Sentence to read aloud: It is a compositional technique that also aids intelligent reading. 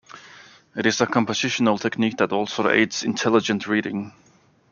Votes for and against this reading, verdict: 1, 2, rejected